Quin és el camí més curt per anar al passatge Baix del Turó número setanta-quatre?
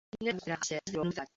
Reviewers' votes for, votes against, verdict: 0, 3, rejected